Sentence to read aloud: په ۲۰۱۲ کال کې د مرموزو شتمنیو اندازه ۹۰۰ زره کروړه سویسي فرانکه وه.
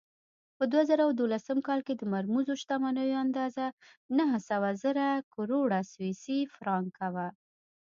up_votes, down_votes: 0, 2